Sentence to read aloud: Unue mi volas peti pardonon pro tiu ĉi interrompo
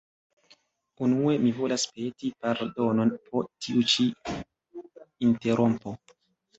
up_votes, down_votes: 0, 2